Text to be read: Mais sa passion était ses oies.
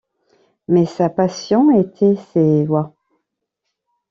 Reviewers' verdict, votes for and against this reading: rejected, 1, 2